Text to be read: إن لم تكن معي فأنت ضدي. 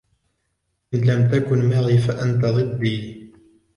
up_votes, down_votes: 2, 0